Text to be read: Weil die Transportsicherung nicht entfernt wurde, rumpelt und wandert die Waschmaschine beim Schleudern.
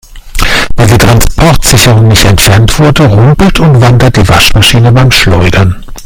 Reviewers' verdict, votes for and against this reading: rejected, 1, 2